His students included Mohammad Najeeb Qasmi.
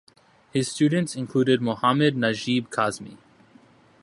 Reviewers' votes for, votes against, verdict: 2, 0, accepted